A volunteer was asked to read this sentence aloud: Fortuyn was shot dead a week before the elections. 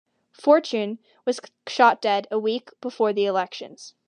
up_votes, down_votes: 1, 2